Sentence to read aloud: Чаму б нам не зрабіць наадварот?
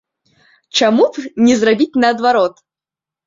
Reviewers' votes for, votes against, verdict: 0, 2, rejected